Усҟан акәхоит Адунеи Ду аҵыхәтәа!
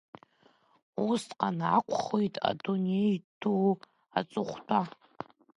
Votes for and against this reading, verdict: 1, 2, rejected